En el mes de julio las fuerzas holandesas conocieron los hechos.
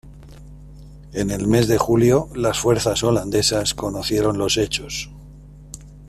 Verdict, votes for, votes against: accepted, 2, 0